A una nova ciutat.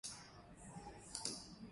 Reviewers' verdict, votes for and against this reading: accepted, 2, 1